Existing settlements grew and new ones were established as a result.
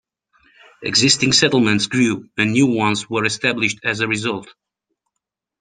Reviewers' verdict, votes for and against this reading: accepted, 2, 0